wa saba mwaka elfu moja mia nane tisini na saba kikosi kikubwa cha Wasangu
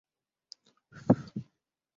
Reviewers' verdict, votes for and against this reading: rejected, 0, 10